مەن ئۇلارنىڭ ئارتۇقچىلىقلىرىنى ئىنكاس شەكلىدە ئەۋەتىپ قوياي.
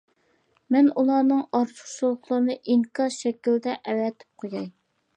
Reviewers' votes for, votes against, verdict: 0, 2, rejected